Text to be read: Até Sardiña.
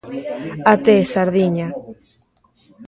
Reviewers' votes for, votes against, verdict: 1, 2, rejected